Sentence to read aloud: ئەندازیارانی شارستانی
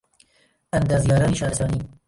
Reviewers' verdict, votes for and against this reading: rejected, 1, 2